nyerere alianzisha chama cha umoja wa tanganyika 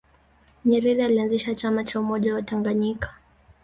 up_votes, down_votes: 1, 2